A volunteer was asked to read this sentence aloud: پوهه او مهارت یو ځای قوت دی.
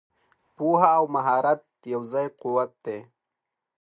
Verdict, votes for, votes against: accepted, 2, 0